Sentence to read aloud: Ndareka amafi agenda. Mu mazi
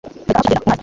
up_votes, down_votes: 0, 2